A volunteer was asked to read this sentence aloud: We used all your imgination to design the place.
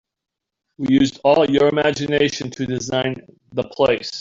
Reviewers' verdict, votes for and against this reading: rejected, 1, 2